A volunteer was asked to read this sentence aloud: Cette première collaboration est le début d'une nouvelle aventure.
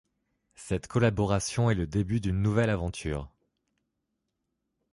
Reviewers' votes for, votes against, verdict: 1, 2, rejected